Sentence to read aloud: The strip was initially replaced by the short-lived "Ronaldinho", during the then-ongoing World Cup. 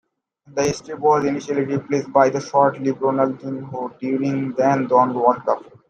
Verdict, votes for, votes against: rejected, 1, 2